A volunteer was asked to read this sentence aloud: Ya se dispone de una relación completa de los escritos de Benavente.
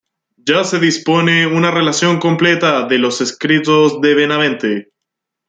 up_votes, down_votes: 2, 0